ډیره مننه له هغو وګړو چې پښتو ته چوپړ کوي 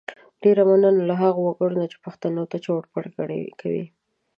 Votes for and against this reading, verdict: 0, 2, rejected